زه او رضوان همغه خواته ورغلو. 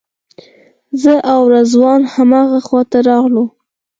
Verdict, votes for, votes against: rejected, 2, 4